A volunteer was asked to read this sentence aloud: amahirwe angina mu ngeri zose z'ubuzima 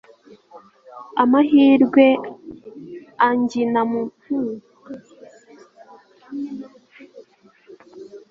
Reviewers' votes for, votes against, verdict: 0, 3, rejected